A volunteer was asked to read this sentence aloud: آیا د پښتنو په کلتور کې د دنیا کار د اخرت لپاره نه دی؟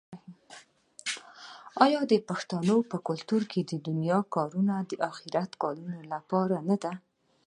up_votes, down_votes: 0, 2